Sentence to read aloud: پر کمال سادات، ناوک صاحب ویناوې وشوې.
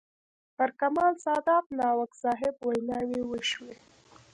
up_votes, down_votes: 1, 2